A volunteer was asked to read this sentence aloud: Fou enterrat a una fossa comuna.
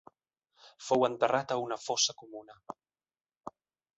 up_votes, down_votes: 2, 0